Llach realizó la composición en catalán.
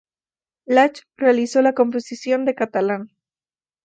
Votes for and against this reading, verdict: 4, 8, rejected